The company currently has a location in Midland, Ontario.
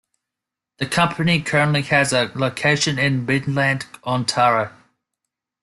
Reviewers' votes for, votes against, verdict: 0, 2, rejected